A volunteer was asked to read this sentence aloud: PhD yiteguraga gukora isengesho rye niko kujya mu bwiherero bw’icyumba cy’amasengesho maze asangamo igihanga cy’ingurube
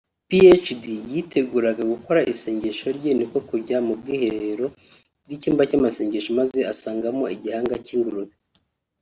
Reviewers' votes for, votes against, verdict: 3, 0, accepted